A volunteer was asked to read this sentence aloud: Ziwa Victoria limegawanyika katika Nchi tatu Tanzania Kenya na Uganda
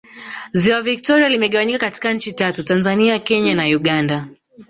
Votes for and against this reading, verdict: 3, 0, accepted